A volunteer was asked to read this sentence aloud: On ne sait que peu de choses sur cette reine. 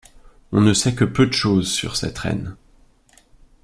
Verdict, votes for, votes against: accepted, 3, 0